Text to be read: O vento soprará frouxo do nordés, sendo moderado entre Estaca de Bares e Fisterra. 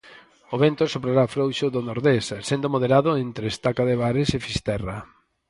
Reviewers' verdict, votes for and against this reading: accepted, 4, 0